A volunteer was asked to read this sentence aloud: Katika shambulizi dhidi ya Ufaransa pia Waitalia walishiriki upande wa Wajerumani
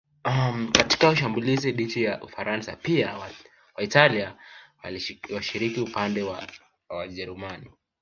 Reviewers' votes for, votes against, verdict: 0, 2, rejected